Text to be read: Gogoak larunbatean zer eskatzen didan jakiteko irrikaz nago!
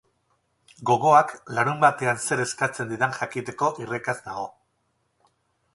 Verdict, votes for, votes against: rejected, 2, 2